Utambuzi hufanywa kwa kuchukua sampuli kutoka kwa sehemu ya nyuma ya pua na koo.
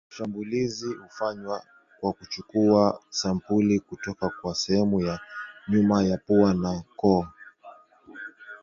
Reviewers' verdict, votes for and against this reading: rejected, 1, 2